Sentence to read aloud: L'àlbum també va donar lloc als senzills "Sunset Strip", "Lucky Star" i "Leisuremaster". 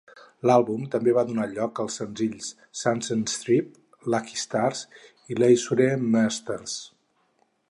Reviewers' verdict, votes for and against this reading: rejected, 2, 4